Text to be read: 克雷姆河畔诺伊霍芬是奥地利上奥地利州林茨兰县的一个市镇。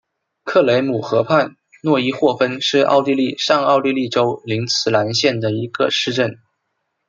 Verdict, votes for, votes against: accepted, 2, 0